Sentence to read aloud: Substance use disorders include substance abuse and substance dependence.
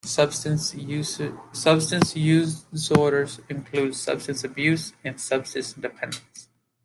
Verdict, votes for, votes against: rejected, 1, 2